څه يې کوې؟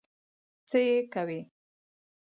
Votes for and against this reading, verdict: 4, 0, accepted